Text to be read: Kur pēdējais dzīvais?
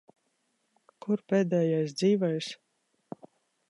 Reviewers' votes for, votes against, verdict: 2, 0, accepted